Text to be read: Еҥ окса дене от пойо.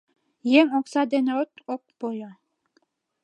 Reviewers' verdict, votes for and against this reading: rejected, 1, 2